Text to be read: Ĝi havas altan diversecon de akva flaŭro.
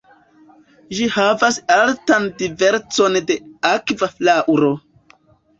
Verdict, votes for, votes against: accepted, 2, 1